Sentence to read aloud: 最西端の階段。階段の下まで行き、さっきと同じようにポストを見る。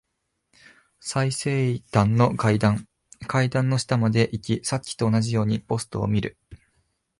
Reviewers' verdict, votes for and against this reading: rejected, 1, 2